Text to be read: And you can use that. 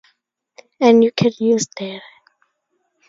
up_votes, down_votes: 0, 2